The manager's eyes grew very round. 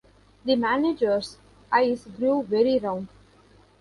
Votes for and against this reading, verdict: 2, 0, accepted